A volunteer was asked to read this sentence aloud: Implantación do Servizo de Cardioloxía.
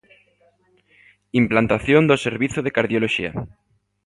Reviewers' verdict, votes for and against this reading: accepted, 2, 0